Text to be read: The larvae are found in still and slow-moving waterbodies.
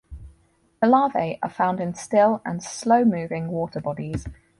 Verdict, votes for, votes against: accepted, 4, 0